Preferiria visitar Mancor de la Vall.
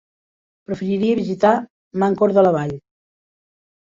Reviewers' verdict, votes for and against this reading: rejected, 1, 3